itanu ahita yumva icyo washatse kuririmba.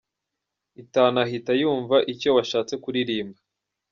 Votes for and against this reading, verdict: 2, 0, accepted